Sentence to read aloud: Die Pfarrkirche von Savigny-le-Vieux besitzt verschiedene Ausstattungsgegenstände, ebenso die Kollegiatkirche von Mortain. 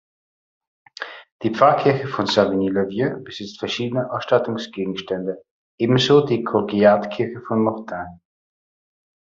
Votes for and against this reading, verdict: 0, 2, rejected